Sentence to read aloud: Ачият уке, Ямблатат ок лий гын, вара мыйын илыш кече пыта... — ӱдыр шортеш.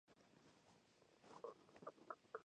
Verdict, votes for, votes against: rejected, 0, 2